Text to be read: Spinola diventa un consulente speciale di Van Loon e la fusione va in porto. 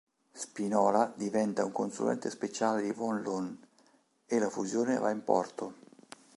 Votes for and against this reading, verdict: 1, 2, rejected